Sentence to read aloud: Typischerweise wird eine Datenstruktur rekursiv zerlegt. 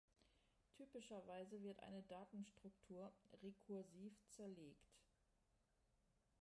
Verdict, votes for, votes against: rejected, 0, 2